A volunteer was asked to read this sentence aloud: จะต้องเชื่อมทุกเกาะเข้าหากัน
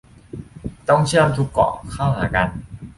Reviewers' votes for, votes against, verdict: 0, 2, rejected